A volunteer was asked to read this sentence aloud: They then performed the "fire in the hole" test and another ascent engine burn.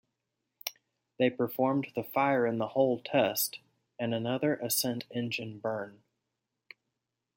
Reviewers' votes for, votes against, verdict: 0, 2, rejected